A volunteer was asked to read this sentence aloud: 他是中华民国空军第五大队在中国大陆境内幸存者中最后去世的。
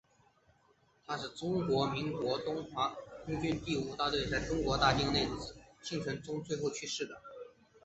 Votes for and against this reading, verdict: 0, 2, rejected